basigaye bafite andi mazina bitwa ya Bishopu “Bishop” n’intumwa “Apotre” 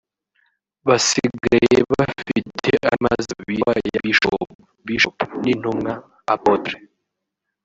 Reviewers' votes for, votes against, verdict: 0, 2, rejected